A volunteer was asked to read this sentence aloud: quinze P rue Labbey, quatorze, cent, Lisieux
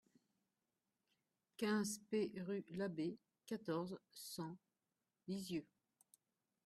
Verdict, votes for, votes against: rejected, 1, 2